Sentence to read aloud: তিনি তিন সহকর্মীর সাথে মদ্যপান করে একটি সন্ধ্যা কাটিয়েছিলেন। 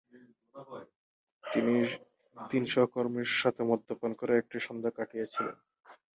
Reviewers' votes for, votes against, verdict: 0, 2, rejected